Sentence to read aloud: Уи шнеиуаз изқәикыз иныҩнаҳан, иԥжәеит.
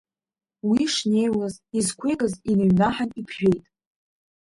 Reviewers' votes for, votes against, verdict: 0, 2, rejected